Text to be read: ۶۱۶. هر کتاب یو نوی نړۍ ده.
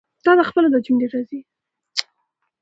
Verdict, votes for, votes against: rejected, 0, 2